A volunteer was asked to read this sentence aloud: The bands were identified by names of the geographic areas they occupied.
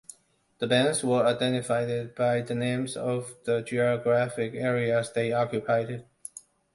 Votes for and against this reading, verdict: 0, 2, rejected